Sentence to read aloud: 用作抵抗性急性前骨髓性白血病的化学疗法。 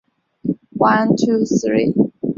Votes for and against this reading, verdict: 0, 2, rejected